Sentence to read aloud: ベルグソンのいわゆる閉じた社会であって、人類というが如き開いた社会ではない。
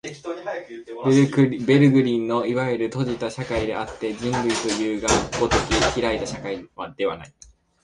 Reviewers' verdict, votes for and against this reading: rejected, 0, 2